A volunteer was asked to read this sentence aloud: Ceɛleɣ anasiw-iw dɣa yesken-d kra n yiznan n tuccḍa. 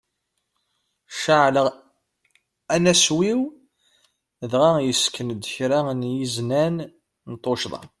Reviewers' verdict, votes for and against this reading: rejected, 1, 2